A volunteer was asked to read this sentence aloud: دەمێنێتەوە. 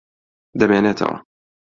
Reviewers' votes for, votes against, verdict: 2, 0, accepted